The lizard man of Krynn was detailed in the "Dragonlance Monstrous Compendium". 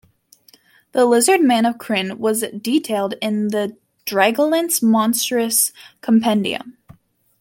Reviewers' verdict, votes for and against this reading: accepted, 2, 0